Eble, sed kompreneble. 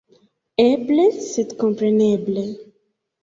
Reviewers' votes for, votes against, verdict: 2, 0, accepted